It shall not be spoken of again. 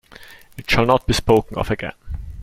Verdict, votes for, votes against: accepted, 2, 0